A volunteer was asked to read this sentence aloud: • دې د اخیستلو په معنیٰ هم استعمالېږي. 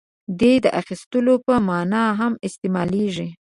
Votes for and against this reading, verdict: 2, 0, accepted